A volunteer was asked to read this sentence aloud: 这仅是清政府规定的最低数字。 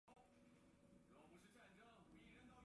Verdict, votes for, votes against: rejected, 0, 2